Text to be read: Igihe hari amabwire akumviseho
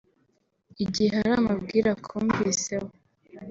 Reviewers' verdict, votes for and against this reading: accepted, 3, 0